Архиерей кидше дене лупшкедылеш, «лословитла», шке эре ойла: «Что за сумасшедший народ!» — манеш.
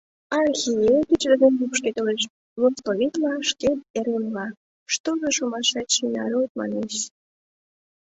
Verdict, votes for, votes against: rejected, 0, 2